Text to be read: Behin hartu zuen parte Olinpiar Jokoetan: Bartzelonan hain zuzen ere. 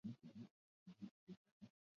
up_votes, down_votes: 0, 4